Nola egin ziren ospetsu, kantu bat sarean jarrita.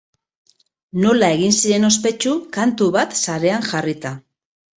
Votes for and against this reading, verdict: 6, 0, accepted